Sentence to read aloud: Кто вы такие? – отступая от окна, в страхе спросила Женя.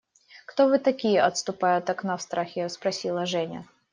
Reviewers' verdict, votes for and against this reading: accepted, 2, 0